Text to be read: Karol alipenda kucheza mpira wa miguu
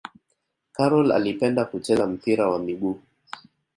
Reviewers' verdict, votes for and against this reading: accepted, 2, 0